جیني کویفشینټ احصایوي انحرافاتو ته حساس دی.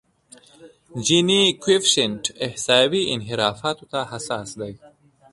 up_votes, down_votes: 2, 1